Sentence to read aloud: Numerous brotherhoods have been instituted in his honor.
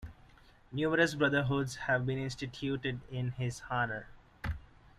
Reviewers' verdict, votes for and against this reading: accepted, 2, 0